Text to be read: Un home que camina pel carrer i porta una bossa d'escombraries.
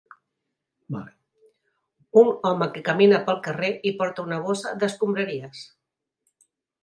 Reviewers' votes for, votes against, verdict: 3, 1, accepted